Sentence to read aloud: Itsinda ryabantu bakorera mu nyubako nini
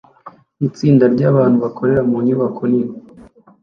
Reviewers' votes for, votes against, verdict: 2, 0, accepted